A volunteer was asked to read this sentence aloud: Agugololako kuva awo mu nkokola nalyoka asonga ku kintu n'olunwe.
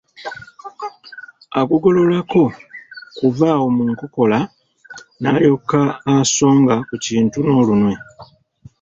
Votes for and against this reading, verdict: 2, 0, accepted